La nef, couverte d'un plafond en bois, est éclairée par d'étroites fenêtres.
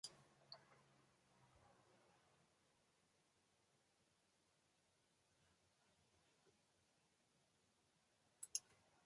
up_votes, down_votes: 0, 2